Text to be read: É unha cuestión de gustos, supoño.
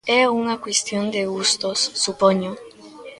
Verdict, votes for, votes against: accepted, 2, 0